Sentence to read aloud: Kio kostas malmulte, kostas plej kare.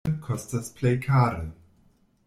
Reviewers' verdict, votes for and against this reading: rejected, 0, 2